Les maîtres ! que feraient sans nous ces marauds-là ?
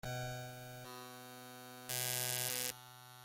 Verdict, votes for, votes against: rejected, 0, 2